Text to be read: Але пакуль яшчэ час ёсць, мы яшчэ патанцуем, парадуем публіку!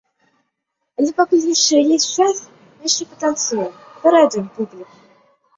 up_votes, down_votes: 2, 1